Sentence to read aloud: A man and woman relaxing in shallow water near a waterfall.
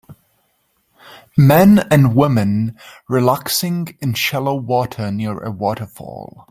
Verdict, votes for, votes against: rejected, 0, 3